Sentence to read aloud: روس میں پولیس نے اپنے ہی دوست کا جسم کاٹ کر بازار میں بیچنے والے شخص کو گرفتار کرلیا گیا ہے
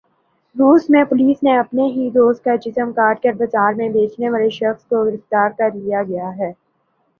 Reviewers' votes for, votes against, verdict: 3, 0, accepted